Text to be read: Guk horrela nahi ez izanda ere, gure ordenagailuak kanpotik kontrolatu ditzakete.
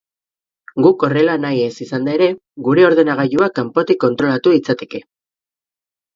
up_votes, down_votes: 2, 2